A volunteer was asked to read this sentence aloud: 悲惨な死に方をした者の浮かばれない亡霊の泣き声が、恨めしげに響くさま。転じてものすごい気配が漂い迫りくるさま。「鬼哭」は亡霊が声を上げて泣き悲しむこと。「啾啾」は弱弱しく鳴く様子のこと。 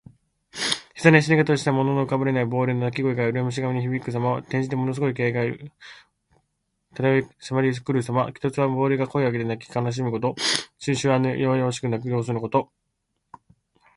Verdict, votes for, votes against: rejected, 0, 2